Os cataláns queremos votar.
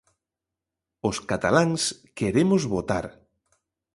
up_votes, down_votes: 2, 0